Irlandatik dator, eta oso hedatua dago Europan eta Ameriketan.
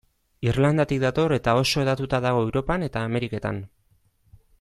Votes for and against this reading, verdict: 1, 2, rejected